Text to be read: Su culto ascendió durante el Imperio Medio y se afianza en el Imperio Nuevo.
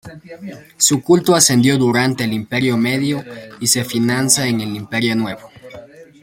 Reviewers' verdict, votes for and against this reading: rejected, 0, 2